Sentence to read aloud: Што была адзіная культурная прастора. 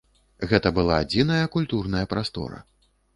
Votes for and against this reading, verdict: 1, 2, rejected